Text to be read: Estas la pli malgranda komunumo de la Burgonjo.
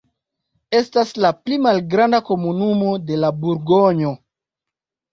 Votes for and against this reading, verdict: 2, 0, accepted